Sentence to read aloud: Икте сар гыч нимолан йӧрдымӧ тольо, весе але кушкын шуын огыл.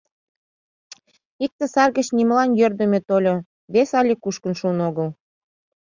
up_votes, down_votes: 2, 0